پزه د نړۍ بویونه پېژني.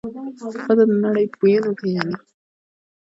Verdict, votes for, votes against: rejected, 1, 2